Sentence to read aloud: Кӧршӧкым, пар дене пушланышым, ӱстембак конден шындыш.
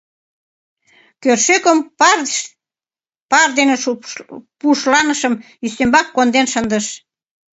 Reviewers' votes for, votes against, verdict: 1, 2, rejected